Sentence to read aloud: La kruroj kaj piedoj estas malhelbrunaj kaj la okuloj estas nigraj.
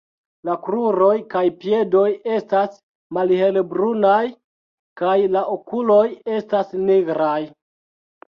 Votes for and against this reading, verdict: 1, 2, rejected